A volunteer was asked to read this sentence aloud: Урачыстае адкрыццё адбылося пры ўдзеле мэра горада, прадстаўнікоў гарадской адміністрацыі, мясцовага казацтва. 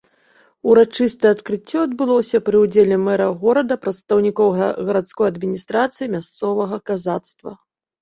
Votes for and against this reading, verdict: 0, 2, rejected